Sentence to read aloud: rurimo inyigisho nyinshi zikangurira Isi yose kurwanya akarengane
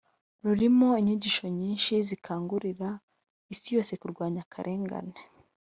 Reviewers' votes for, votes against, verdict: 1, 2, rejected